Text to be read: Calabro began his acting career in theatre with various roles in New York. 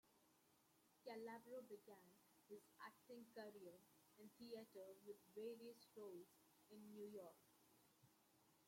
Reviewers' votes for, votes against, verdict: 0, 2, rejected